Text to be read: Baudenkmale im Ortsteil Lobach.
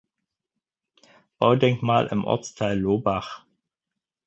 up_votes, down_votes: 0, 4